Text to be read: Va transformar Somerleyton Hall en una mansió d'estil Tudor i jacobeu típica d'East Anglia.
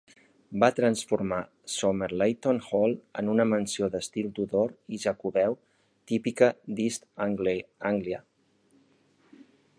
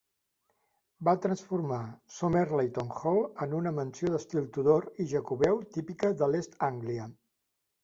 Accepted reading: second